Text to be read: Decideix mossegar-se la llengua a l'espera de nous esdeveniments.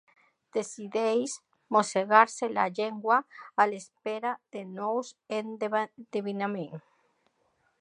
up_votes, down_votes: 0, 2